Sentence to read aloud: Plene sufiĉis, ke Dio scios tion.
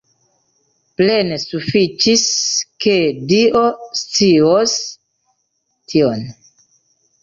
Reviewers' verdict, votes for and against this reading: accepted, 2, 1